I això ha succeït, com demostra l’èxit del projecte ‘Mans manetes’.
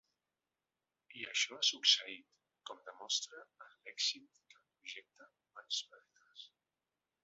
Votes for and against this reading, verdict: 0, 2, rejected